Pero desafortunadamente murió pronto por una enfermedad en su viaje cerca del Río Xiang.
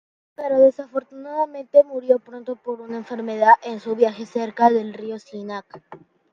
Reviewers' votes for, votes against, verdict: 1, 2, rejected